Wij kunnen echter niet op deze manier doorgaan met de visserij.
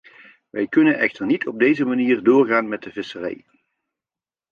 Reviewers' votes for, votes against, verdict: 2, 0, accepted